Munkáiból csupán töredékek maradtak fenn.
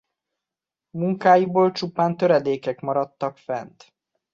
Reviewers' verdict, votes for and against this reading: rejected, 0, 2